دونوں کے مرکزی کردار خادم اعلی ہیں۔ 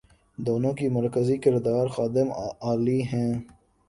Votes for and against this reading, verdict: 2, 3, rejected